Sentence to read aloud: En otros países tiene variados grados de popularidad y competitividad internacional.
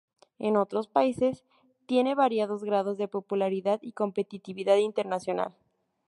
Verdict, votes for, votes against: accepted, 4, 0